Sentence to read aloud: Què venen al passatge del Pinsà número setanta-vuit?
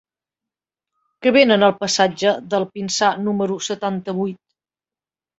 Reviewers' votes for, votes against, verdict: 0, 2, rejected